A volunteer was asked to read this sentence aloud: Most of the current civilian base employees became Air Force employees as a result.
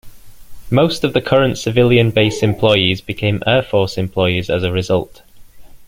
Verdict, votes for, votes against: accepted, 2, 0